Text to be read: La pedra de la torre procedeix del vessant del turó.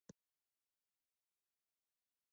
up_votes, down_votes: 0, 2